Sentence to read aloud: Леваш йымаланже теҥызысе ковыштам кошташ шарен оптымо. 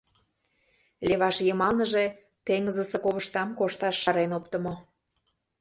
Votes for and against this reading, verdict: 1, 2, rejected